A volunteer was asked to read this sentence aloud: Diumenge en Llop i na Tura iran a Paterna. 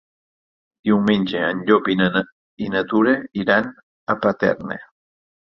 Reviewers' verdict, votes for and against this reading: rejected, 2, 4